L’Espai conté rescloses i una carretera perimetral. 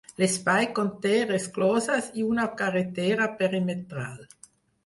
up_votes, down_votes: 6, 0